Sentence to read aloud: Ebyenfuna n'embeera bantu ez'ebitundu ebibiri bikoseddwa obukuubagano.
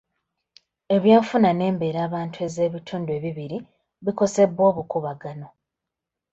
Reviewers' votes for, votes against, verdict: 0, 2, rejected